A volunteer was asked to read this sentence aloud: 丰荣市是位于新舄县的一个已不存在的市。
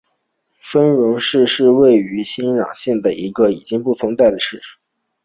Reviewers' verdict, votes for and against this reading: rejected, 1, 3